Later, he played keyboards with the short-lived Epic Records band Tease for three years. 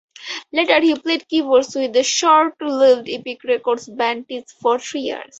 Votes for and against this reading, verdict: 4, 2, accepted